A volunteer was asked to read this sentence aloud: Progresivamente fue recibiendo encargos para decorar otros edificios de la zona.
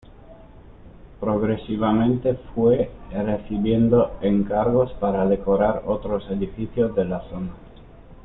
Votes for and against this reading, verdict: 2, 0, accepted